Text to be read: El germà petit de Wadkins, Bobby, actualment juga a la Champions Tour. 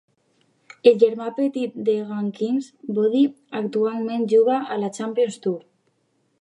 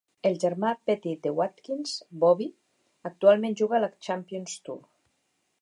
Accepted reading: second